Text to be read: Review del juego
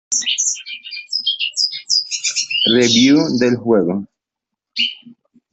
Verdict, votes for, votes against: rejected, 0, 3